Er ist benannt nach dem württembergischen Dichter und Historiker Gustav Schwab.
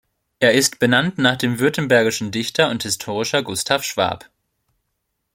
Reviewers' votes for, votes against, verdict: 1, 2, rejected